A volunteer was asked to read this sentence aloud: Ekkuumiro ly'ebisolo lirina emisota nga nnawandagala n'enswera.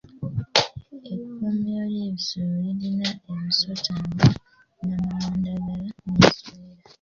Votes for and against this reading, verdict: 1, 2, rejected